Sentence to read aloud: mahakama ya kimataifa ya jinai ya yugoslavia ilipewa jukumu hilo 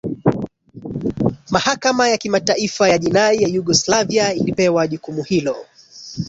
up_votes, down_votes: 2, 1